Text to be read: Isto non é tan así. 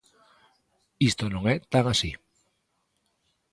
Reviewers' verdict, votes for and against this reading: accepted, 3, 0